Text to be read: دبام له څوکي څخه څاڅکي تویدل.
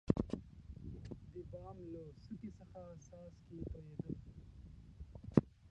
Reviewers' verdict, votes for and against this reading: rejected, 0, 2